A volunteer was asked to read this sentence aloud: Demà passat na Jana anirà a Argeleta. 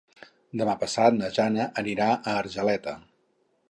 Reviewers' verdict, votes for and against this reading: accepted, 6, 0